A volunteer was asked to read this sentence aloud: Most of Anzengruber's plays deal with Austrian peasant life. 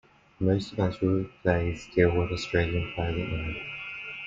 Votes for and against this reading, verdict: 1, 2, rejected